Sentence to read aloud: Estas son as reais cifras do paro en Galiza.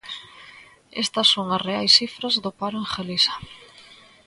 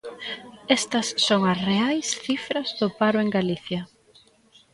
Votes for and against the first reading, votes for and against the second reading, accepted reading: 2, 0, 0, 2, first